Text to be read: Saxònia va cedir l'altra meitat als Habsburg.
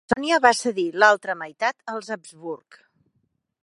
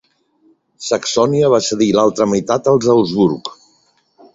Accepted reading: second